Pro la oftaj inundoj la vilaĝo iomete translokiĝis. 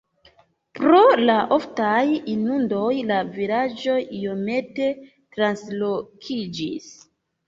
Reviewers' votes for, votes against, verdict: 2, 0, accepted